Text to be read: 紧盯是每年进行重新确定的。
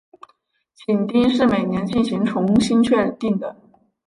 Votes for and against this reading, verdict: 4, 2, accepted